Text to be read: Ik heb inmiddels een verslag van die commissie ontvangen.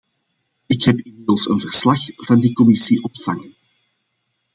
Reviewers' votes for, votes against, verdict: 2, 0, accepted